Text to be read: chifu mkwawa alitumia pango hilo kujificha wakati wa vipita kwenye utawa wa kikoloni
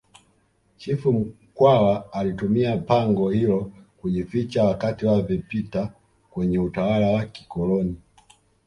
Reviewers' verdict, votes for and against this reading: rejected, 1, 2